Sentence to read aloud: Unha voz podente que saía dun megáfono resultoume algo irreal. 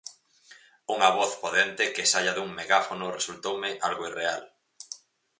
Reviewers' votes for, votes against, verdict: 2, 2, rejected